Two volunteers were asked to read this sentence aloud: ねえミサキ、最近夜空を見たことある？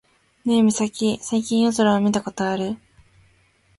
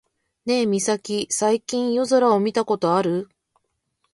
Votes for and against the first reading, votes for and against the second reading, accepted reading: 2, 0, 1, 2, first